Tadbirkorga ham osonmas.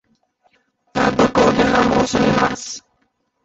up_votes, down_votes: 0, 2